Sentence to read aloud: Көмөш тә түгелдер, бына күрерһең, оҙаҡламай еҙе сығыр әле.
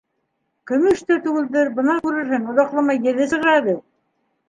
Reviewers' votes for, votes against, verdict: 1, 2, rejected